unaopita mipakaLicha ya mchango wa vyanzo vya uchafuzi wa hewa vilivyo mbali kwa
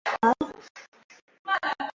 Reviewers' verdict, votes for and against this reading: rejected, 0, 2